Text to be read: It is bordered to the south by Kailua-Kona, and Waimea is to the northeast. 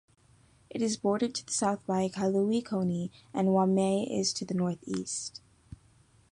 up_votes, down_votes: 2, 0